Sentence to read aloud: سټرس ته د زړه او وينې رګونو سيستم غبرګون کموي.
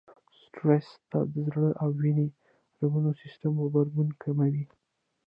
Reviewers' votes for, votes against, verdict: 1, 2, rejected